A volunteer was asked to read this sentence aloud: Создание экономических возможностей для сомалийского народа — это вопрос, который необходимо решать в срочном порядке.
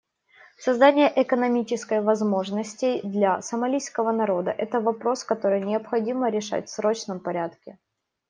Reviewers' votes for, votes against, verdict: 1, 2, rejected